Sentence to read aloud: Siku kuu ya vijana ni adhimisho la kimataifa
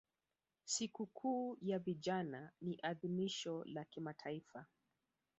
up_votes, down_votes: 3, 4